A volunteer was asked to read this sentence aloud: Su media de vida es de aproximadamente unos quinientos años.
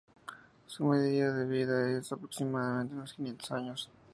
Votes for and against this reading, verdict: 0, 2, rejected